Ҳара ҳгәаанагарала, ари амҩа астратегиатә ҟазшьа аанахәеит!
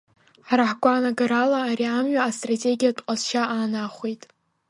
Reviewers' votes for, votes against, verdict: 0, 2, rejected